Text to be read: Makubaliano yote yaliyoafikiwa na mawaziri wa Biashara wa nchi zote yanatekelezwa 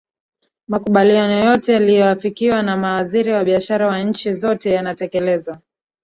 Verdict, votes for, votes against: accepted, 2, 0